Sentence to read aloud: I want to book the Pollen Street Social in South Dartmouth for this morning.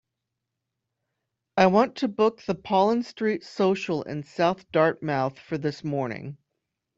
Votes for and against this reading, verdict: 2, 0, accepted